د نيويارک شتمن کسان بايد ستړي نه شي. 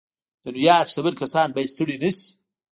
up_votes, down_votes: 0, 2